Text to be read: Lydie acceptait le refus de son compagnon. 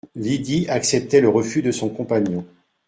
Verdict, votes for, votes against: accepted, 2, 0